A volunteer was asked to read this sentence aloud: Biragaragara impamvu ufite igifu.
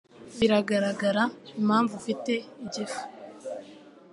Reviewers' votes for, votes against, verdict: 2, 0, accepted